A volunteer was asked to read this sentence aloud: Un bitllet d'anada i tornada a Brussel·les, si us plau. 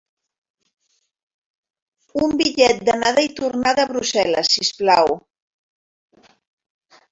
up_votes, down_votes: 0, 2